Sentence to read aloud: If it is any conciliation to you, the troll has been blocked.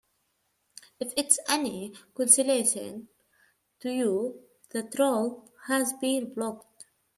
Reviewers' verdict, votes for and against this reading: rejected, 1, 2